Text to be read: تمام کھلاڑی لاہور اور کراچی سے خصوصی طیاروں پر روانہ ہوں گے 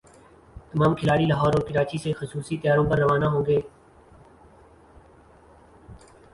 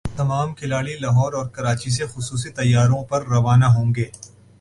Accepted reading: second